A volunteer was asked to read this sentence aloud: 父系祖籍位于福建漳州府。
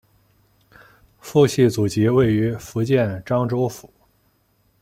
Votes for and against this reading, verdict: 2, 0, accepted